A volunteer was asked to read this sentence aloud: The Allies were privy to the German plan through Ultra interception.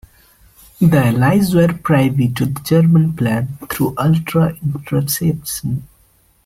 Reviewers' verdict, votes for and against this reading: rejected, 0, 2